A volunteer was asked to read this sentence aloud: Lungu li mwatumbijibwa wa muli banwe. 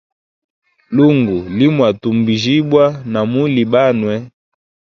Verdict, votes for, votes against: rejected, 1, 2